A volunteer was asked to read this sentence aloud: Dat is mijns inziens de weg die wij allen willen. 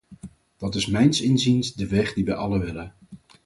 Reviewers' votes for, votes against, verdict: 4, 0, accepted